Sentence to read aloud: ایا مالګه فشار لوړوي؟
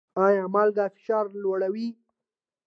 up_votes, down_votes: 2, 0